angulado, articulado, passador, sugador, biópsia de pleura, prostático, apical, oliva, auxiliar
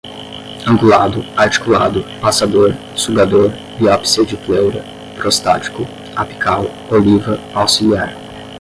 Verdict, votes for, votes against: accepted, 5, 0